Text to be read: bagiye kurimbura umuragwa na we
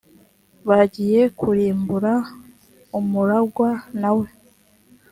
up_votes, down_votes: 2, 0